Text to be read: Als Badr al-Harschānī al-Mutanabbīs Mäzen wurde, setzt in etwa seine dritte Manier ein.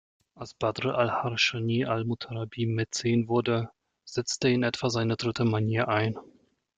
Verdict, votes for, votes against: accepted, 2, 1